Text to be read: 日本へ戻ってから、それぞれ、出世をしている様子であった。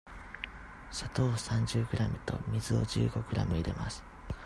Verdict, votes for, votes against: rejected, 0, 2